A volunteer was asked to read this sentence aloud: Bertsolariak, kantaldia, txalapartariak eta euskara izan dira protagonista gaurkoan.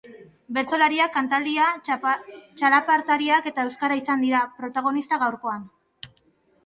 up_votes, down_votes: 2, 1